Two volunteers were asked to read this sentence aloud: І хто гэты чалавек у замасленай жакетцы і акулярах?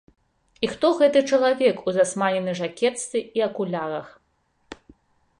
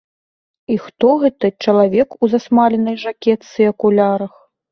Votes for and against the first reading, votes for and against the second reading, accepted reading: 1, 2, 2, 0, second